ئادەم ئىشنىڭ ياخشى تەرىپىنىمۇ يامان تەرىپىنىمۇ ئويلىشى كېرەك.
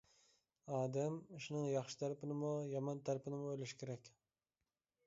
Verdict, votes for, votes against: accepted, 2, 1